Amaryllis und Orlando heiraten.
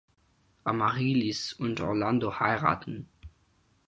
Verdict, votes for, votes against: accepted, 4, 0